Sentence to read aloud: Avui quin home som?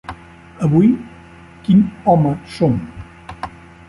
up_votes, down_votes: 3, 0